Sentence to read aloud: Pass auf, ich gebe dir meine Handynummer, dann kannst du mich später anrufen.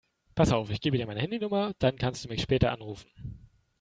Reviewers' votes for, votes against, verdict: 2, 0, accepted